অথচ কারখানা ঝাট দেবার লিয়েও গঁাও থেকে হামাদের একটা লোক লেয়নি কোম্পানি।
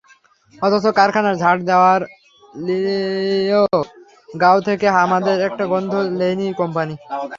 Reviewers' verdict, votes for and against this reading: rejected, 0, 3